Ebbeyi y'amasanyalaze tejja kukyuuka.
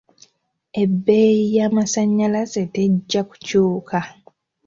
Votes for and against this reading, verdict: 2, 0, accepted